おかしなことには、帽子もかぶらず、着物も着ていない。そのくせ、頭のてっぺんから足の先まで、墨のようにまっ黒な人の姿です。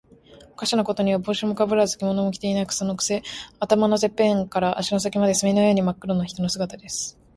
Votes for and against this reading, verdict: 5, 1, accepted